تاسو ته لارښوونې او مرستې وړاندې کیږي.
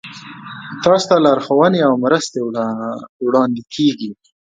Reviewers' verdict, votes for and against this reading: rejected, 1, 2